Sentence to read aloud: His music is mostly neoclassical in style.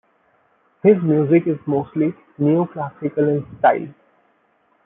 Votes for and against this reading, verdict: 2, 0, accepted